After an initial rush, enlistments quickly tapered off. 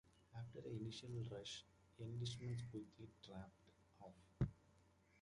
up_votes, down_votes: 0, 2